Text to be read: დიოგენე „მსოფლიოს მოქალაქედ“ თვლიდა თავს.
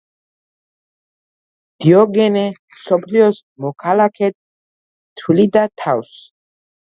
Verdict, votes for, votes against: accepted, 2, 0